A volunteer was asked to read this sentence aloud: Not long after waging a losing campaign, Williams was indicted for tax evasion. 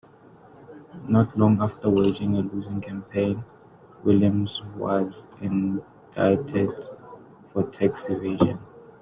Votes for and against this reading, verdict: 0, 2, rejected